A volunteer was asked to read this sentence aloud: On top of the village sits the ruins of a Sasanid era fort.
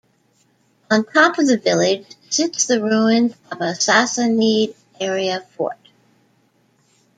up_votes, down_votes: 1, 2